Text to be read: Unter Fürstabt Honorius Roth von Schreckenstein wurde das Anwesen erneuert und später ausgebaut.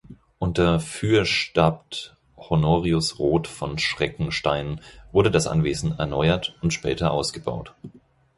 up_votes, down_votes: 2, 4